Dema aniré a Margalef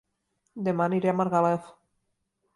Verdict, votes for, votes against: accepted, 2, 0